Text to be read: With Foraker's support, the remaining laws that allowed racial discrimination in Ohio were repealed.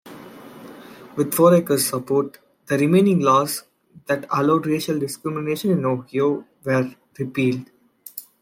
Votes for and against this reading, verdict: 0, 2, rejected